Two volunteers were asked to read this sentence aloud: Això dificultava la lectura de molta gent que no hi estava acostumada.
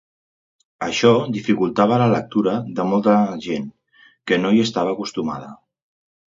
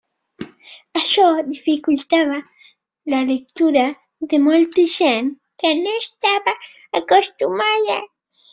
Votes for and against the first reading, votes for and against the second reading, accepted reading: 2, 0, 1, 2, first